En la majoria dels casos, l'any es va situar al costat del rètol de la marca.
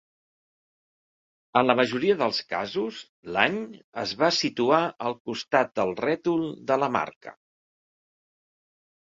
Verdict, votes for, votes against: accepted, 3, 0